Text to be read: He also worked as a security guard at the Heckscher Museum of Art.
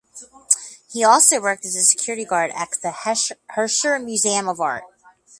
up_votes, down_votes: 0, 4